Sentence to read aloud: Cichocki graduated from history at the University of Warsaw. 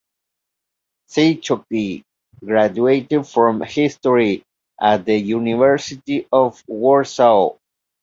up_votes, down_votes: 2, 0